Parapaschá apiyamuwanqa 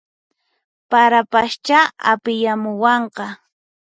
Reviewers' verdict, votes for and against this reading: accepted, 4, 2